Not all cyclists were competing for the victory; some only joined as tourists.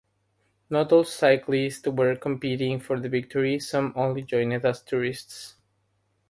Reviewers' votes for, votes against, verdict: 3, 0, accepted